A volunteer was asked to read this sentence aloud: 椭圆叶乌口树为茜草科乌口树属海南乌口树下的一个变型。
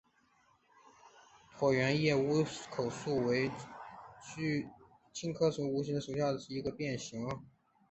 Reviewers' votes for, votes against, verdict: 2, 0, accepted